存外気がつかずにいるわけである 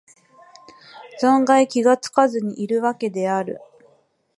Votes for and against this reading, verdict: 2, 0, accepted